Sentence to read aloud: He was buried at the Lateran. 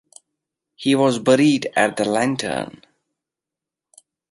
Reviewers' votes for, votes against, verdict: 1, 2, rejected